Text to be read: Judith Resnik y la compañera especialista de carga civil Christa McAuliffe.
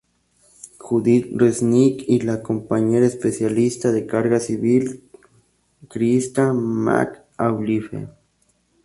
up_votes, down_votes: 0, 2